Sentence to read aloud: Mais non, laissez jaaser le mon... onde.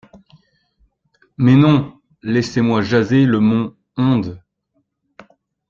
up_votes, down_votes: 1, 2